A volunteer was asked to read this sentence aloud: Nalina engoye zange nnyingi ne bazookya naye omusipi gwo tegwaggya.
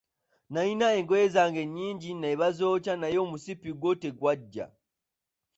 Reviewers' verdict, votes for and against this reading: rejected, 0, 2